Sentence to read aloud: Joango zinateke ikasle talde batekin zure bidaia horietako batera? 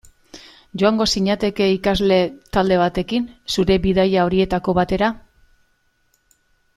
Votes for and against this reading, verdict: 2, 0, accepted